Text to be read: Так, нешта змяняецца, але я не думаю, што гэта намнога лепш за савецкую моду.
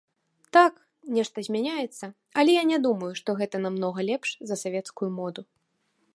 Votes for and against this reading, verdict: 2, 0, accepted